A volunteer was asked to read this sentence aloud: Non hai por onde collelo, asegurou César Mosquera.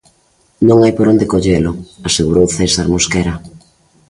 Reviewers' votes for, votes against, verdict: 3, 0, accepted